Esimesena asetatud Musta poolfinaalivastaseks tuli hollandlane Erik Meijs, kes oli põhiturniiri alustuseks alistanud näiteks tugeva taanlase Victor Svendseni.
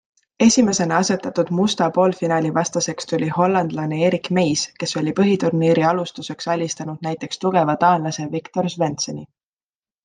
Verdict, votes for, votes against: accepted, 2, 0